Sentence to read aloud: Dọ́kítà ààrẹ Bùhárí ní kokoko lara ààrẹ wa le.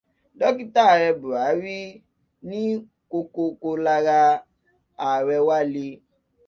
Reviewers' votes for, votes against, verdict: 2, 0, accepted